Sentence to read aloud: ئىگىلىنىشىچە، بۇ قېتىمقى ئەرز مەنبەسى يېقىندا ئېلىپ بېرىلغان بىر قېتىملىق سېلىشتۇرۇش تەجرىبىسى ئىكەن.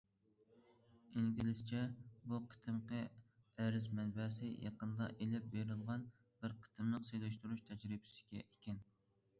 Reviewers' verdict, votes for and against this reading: rejected, 0, 2